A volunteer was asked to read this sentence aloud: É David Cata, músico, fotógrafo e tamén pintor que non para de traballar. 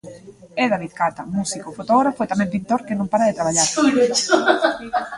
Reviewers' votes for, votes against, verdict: 0, 2, rejected